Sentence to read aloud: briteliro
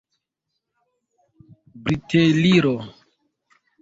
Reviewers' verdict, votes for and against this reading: rejected, 0, 2